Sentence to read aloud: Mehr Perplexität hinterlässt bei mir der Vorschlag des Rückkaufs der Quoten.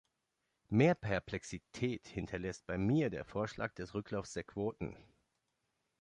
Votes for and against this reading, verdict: 1, 2, rejected